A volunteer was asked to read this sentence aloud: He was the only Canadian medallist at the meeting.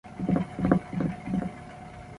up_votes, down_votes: 0, 2